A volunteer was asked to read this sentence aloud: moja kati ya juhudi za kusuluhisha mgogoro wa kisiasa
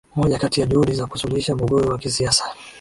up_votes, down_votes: 0, 2